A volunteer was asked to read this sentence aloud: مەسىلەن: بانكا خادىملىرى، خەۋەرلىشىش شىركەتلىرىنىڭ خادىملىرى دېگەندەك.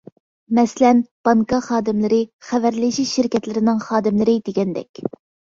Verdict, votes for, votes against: accepted, 2, 0